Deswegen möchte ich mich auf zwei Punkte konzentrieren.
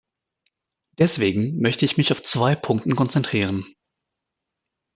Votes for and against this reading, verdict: 0, 2, rejected